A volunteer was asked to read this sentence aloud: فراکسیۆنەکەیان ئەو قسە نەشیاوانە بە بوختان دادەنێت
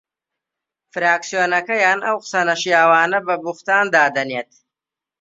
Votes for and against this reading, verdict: 2, 0, accepted